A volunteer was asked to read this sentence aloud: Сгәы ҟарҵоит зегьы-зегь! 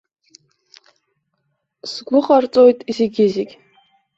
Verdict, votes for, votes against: rejected, 1, 2